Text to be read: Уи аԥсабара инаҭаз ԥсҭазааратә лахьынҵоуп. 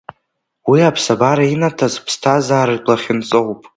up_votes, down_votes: 2, 1